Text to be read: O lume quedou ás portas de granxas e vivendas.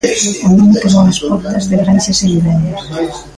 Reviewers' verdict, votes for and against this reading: rejected, 0, 2